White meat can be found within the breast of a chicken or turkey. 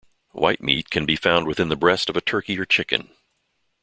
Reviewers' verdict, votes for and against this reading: rejected, 0, 2